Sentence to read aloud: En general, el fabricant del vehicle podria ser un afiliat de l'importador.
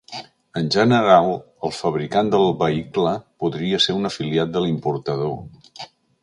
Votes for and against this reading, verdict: 2, 1, accepted